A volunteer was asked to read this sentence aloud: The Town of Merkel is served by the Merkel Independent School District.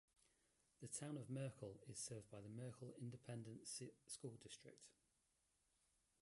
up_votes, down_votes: 1, 2